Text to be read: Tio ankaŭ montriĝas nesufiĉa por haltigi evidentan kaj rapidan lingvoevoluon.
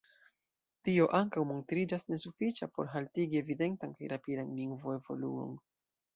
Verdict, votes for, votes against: rejected, 1, 2